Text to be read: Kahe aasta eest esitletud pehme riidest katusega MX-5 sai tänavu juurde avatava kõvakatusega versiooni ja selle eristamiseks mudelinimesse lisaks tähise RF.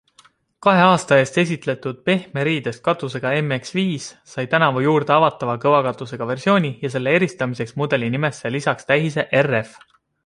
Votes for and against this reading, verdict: 0, 2, rejected